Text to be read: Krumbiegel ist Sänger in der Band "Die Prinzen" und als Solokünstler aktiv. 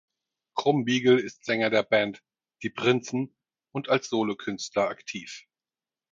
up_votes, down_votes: 0, 4